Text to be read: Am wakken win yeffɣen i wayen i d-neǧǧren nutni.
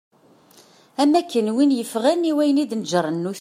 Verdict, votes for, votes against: rejected, 1, 2